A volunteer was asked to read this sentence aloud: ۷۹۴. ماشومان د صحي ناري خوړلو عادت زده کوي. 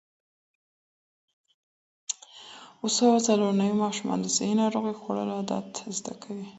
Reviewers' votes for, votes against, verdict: 0, 2, rejected